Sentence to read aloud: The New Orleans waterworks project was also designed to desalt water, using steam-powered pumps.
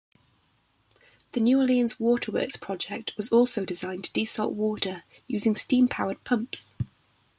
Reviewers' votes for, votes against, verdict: 0, 2, rejected